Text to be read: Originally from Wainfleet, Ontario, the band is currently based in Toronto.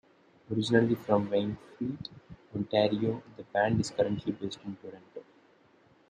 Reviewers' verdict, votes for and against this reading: rejected, 0, 2